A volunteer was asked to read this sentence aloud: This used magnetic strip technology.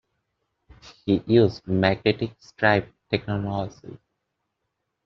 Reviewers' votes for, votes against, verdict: 0, 2, rejected